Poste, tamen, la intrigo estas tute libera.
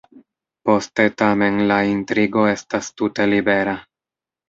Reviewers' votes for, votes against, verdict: 1, 2, rejected